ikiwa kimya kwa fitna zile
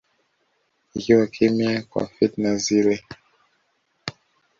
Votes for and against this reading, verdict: 2, 0, accepted